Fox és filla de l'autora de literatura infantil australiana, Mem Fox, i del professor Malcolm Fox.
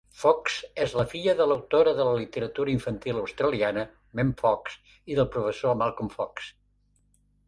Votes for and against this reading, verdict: 0, 2, rejected